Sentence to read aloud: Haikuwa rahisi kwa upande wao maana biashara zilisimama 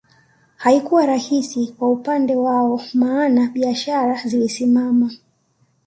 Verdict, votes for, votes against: accepted, 2, 0